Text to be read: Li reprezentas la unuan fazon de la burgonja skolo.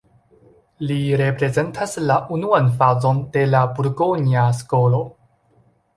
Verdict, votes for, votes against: accepted, 2, 0